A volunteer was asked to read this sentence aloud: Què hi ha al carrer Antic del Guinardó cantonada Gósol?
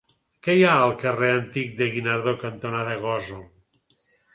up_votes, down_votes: 4, 0